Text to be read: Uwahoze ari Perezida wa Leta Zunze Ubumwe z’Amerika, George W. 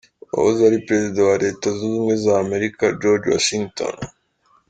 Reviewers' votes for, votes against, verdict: 2, 4, rejected